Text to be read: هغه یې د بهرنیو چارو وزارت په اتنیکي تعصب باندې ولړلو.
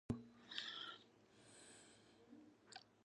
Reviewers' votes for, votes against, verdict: 0, 2, rejected